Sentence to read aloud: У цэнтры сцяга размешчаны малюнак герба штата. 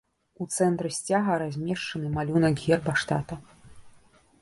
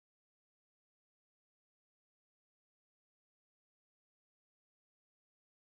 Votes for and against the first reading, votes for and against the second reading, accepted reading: 2, 0, 0, 2, first